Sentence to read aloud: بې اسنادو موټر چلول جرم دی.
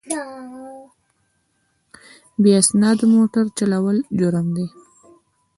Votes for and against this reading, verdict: 2, 0, accepted